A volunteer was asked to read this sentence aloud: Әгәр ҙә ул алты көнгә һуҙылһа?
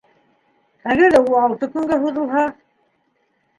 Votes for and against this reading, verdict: 2, 0, accepted